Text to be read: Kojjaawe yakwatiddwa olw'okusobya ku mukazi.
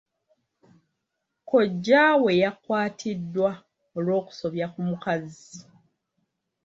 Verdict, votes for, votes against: accepted, 2, 0